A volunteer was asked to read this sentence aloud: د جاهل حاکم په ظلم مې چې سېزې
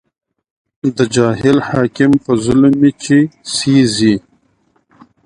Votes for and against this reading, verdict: 1, 2, rejected